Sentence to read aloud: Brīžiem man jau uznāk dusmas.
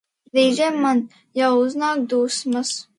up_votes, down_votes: 2, 0